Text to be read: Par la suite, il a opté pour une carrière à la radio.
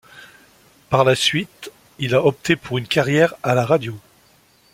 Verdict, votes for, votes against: accepted, 2, 0